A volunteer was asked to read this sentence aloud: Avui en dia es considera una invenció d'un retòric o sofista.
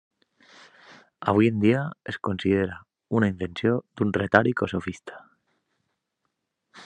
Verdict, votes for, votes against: rejected, 1, 2